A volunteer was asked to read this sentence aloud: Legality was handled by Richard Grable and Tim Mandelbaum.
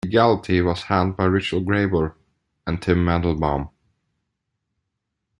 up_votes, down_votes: 2, 1